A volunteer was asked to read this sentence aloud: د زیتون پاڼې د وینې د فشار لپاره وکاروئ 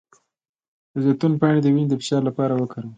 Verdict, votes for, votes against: rejected, 0, 2